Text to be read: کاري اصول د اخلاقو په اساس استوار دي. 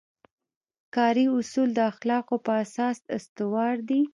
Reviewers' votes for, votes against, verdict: 2, 1, accepted